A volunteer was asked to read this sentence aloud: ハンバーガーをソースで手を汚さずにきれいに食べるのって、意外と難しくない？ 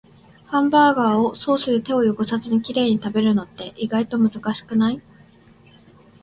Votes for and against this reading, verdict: 2, 0, accepted